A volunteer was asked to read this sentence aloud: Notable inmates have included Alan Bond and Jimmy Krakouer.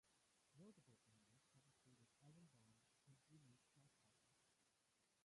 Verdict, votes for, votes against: rejected, 0, 2